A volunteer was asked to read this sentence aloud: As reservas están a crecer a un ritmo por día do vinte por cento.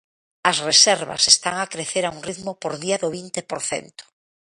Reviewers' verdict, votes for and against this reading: accepted, 3, 0